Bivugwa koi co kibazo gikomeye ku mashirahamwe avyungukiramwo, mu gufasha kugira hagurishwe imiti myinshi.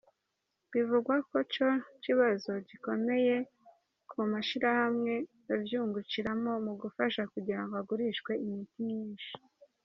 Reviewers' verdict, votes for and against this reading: rejected, 1, 2